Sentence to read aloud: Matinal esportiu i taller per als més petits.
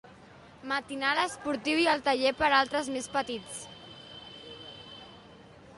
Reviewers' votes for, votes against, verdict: 0, 2, rejected